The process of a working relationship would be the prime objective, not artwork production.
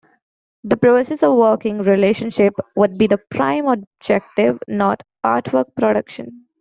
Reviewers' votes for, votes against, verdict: 0, 2, rejected